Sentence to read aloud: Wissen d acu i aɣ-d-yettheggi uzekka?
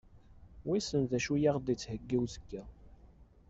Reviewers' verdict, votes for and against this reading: accepted, 2, 0